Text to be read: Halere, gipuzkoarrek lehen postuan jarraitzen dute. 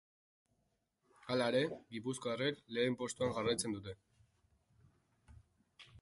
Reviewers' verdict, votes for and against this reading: accepted, 3, 0